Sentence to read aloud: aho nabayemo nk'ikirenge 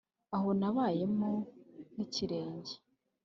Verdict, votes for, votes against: accepted, 2, 0